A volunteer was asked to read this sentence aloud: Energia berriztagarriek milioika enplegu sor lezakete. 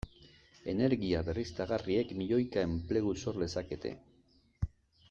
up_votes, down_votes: 2, 0